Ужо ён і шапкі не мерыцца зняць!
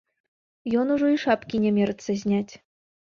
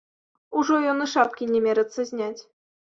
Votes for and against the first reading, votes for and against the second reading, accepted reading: 1, 3, 2, 0, second